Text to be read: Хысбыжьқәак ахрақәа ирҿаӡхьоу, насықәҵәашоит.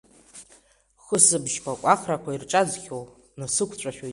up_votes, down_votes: 2, 0